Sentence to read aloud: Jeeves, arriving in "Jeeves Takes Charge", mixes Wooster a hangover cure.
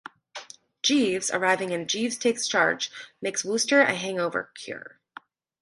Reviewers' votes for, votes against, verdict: 0, 2, rejected